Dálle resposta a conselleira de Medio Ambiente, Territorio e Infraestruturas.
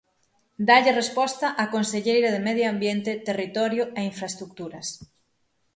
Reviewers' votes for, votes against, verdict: 3, 6, rejected